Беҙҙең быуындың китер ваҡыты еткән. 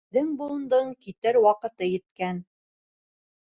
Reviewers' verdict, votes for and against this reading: rejected, 0, 2